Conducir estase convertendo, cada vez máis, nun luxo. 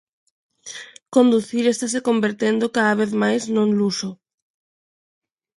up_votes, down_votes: 2, 0